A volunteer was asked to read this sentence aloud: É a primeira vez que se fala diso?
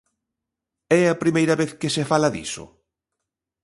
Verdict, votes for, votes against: accepted, 2, 0